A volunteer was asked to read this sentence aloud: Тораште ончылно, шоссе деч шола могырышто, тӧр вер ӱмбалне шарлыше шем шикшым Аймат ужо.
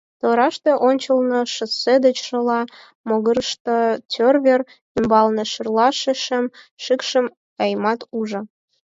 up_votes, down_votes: 2, 4